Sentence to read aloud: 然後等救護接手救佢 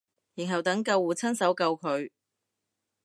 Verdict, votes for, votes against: rejected, 0, 2